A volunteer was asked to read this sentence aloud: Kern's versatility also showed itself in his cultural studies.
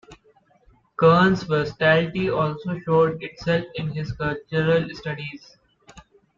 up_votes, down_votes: 2, 0